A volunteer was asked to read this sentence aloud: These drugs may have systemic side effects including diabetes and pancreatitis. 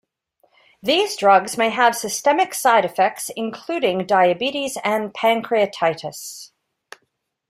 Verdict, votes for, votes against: accepted, 2, 0